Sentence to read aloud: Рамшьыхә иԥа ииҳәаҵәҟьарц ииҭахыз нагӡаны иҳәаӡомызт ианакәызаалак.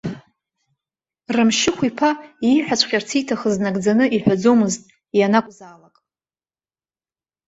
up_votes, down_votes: 1, 2